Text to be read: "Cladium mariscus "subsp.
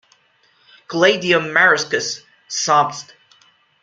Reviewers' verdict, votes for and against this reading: rejected, 1, 2